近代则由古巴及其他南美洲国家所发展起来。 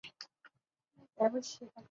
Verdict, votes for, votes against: rejected, 1, 3